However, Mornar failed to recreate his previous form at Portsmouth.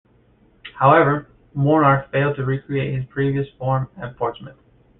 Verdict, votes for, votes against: accepted, 2, 1